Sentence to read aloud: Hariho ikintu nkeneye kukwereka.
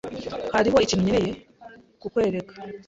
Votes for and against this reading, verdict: 2, 0, accepted